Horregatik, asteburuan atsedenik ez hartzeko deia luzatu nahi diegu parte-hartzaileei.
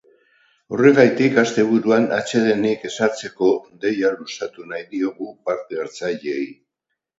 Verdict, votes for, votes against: accepted, 2, 0